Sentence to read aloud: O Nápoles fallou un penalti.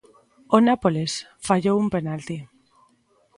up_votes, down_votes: 2, 0